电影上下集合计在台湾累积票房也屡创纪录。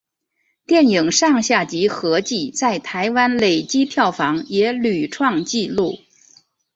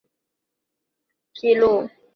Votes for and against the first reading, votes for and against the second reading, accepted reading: 3, 0, 0, 2, first